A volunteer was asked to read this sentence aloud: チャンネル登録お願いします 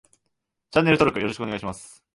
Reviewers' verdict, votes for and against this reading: rejected, 1, 2